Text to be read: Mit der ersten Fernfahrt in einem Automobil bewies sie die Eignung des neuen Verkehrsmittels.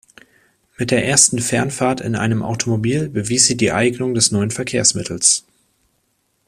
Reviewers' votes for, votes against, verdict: 2, 0, accepted